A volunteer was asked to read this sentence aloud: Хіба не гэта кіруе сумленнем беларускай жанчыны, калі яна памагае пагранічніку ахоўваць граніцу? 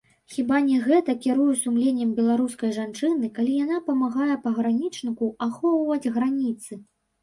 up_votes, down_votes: 2, 3